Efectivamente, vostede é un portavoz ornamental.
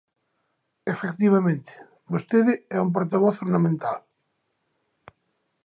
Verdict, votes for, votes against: accepted, 3, 0